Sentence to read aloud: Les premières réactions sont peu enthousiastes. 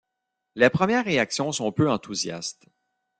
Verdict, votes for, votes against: accepted, 2, 0